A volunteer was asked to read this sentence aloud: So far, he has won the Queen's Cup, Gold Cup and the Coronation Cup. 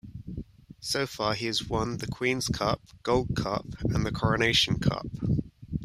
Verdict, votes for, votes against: accepted, 2, 0